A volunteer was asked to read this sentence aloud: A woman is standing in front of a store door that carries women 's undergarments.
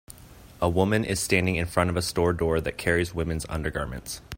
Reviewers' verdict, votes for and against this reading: accepted, 2, 0